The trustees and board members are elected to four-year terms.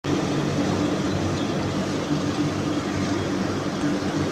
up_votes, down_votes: 0, 2